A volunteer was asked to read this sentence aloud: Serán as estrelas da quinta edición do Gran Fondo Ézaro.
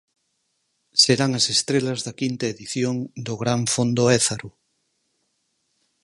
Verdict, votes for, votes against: accepted, 4, 0